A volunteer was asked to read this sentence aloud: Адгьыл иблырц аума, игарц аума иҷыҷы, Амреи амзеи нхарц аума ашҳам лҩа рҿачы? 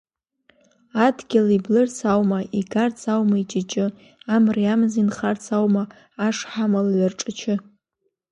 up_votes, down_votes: 2, 0